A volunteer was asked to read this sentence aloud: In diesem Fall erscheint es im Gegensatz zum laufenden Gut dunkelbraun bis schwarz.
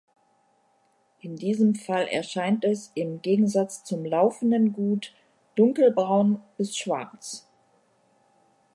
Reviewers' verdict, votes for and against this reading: accepted, 2, 0